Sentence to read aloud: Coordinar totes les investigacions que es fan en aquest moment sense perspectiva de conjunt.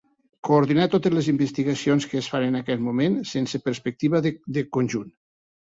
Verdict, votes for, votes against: rejected, 0, 3